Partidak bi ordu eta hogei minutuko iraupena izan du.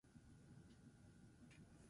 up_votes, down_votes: 0, 4